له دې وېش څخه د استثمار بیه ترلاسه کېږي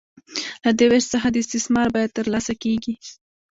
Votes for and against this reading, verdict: 1, 2, rejected